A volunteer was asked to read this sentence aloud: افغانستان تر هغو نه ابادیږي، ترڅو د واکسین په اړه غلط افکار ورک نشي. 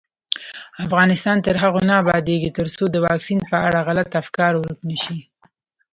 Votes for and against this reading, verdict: 2, 0, accepted